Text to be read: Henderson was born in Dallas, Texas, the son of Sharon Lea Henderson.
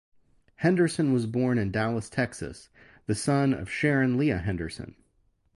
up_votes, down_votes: 2, 0